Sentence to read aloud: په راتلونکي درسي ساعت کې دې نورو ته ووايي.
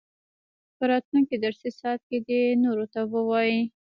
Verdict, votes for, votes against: rejected, 1, 2